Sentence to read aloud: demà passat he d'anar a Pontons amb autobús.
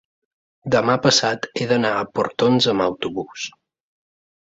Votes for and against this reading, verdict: 0, 3, rejected